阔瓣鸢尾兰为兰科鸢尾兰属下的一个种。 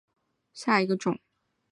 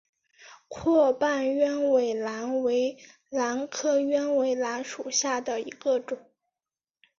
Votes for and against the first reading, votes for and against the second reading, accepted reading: 1, 2, 4, 0, second